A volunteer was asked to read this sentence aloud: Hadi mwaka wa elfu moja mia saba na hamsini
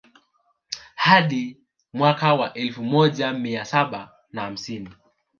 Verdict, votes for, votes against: rejected, 1, 2